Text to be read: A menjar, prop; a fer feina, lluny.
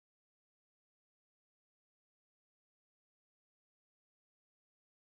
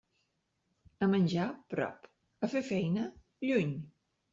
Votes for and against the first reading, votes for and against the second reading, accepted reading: 0, 2, 3, 0, second